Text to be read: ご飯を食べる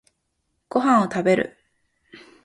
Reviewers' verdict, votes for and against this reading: accepted, 2, 0